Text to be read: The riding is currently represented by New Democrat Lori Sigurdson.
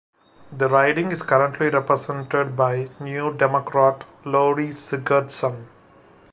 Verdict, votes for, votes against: accepted, 2, 0